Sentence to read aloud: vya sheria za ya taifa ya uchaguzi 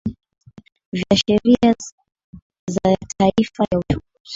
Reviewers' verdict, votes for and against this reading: rejected, 0, 2